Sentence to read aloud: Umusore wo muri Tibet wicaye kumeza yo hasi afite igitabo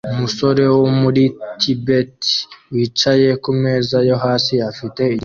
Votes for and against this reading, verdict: 0, 2, rejected